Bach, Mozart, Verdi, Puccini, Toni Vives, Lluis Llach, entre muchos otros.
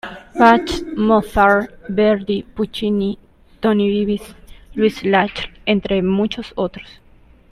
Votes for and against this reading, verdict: 0, 2, rejected